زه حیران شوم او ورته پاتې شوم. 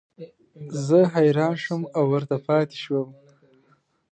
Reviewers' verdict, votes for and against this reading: accepted, 2, 0